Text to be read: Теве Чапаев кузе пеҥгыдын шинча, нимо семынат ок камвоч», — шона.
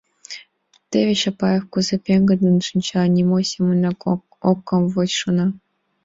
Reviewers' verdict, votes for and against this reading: accepted, 3, 2